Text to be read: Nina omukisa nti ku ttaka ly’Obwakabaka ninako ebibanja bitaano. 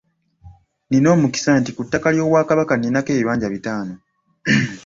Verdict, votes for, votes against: accepted, 2, 0